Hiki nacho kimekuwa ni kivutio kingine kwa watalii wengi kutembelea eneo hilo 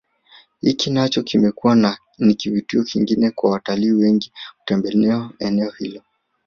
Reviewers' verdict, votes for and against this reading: accepted, 2, 0